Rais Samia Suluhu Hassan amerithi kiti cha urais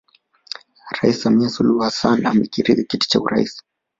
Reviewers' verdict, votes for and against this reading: rejected, 1, 2